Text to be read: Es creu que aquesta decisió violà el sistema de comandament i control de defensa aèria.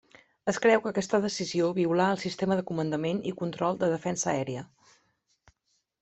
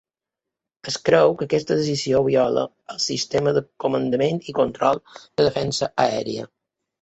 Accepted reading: first